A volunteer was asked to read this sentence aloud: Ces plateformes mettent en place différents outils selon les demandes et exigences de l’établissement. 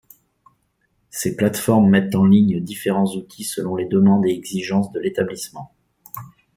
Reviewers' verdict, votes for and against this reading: rejected, 0, 2